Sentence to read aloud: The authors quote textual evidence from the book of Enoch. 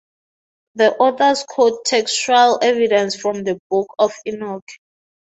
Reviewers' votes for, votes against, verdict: 0, 2, rejected